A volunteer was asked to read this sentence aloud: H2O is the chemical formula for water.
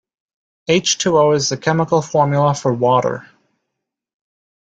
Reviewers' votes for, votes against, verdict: 0, 2, rejected